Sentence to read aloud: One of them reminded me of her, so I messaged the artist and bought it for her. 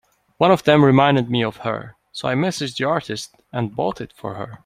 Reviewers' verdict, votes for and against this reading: accepted, 2, 0